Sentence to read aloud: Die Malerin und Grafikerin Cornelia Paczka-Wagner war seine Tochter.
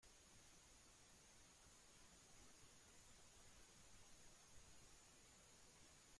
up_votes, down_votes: 0, 2